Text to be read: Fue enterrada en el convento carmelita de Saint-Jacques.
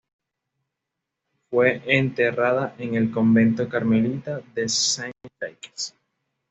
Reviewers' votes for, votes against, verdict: 2, 0, accepted